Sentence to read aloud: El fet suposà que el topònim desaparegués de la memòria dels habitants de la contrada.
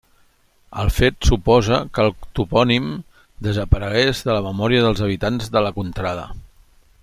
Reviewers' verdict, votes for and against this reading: rejected, 0, 2